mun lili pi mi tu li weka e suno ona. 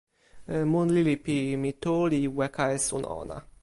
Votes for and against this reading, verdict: 1, 2, rejected